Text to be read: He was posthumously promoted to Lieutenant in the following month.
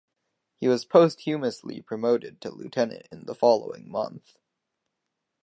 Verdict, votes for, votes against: accepted, 4, 0